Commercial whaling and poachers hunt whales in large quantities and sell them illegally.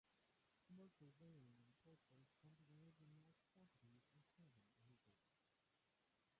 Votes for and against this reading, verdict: 0, 3, rejected